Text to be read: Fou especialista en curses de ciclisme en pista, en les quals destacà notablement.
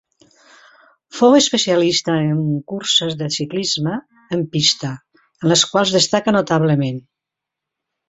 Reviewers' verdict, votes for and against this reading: rejected, 1, 2